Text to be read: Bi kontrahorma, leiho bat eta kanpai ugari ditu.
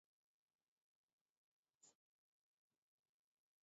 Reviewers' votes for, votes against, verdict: 0, 2, rejected